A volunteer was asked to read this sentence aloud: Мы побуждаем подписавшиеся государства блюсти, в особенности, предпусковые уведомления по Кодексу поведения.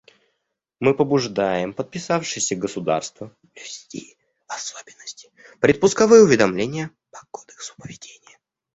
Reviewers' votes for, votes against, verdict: 1, 2, rejected